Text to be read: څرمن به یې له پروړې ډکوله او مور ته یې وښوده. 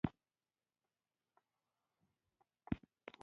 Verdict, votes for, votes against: rejected, 0, 2